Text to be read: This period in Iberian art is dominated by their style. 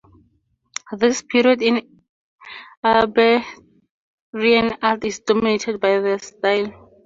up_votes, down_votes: 0, 2